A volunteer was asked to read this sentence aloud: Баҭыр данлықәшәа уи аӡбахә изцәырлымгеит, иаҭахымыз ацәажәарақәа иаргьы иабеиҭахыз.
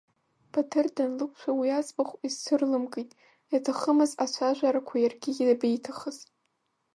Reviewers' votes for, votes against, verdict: 3, 2, accepted